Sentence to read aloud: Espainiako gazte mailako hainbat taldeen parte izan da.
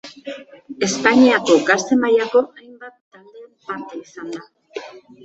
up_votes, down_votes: 0, 2